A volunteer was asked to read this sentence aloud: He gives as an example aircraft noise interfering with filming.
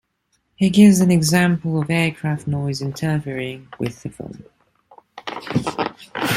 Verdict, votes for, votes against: rejected, 0, 2